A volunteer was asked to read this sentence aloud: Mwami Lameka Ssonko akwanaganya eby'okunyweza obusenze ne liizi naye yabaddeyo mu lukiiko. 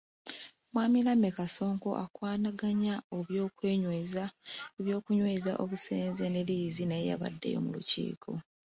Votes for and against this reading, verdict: 1, 2, rejected